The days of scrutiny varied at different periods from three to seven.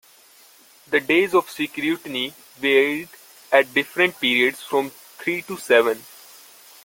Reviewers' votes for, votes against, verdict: 0, 2, rejected